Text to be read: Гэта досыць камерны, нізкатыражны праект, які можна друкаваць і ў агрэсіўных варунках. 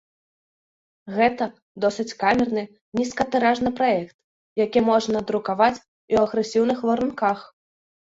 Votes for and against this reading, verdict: 1, 2, rejected